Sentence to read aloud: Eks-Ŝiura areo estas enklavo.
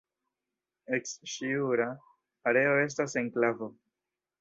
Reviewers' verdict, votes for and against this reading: rejected, 1, 2